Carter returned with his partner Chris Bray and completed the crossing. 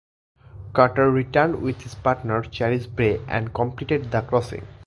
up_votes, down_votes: 1, 2